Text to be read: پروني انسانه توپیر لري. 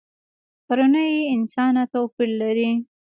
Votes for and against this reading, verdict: 1, 2, rejected